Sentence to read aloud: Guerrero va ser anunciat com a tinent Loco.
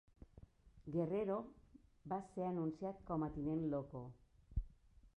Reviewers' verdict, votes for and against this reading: rejected, 0, 3